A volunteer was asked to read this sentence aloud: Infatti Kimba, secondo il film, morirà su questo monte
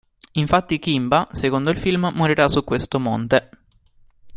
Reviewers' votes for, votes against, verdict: 2, 0, accepted